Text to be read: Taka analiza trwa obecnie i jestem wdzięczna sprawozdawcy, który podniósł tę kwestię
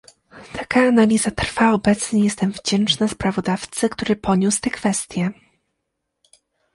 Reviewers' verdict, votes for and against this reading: rejected, 1, 2